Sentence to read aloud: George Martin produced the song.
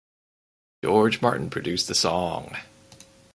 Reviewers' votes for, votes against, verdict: 2, 2, rejected